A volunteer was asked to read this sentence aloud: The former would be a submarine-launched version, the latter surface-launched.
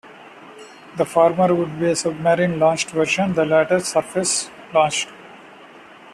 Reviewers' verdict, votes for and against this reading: accepted, 2, 0